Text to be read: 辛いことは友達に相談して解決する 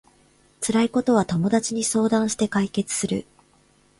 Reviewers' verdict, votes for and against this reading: rejected, 0, 2